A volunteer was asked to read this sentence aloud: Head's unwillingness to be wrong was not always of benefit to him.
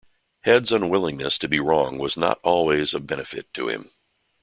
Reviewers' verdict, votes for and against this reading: accepted, 2, 0